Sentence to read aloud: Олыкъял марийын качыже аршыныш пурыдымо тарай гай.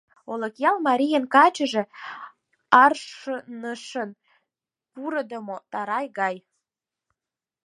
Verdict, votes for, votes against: rejected, 0, 6